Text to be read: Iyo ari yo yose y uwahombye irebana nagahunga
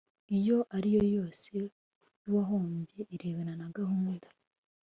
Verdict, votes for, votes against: rejected, 1, 2